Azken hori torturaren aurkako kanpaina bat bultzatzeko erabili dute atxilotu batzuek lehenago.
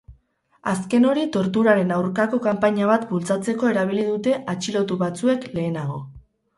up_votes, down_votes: 6, 0